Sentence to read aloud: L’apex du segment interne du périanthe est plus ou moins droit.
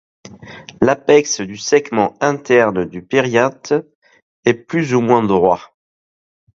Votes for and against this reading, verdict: 0, 2, rejected